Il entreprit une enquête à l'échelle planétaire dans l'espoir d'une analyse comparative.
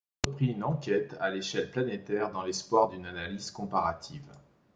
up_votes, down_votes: 1, 2